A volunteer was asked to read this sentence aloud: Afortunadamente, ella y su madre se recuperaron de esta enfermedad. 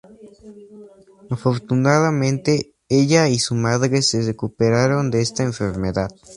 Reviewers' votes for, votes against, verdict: 2, 0, accepted